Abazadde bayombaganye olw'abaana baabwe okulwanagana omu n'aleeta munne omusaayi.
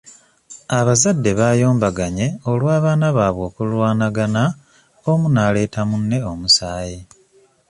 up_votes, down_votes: 1, 2